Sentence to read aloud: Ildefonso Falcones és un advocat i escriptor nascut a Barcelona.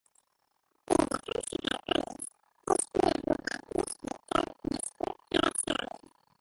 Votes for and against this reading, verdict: 0, 2, rejected